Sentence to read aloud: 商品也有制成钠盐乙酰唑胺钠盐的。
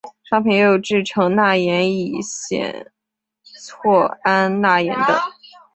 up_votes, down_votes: 2, 0